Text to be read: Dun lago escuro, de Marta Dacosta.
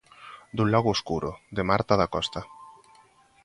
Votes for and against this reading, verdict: 2, 1, accepted